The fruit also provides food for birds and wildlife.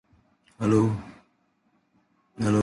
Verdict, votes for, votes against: rejected, 0, 2